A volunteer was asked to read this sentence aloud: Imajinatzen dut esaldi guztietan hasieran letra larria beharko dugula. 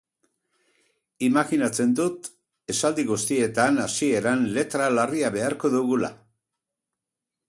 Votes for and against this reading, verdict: 0, 2, rejected